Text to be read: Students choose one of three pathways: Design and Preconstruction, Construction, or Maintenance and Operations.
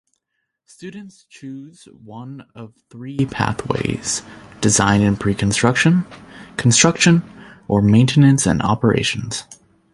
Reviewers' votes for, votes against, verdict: 1, 2, rejected